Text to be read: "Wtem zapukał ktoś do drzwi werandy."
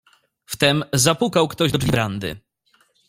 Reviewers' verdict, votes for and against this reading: rejected, 0, 2